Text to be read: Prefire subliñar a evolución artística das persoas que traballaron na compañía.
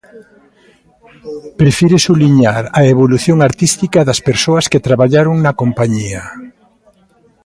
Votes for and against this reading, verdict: 2, 0, accepted